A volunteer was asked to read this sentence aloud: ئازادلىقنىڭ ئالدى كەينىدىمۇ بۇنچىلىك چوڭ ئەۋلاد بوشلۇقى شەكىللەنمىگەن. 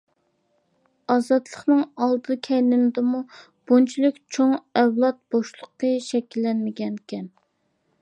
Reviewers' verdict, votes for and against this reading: accepted, 2, 0